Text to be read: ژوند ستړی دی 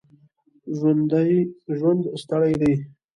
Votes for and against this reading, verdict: 1, 2, rejected